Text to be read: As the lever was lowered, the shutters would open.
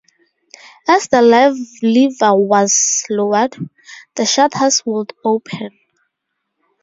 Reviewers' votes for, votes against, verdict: 0, 2, rejected